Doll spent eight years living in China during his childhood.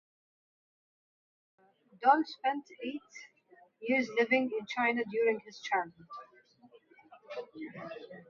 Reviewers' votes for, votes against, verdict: 1, 2, rejected